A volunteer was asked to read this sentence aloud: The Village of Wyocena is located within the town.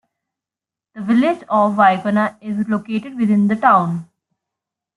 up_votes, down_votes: 2, 0